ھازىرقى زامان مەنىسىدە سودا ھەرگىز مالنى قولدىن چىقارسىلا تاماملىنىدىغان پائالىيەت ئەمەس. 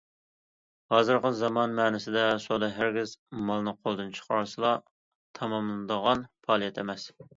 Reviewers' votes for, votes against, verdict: 2, 0, accepted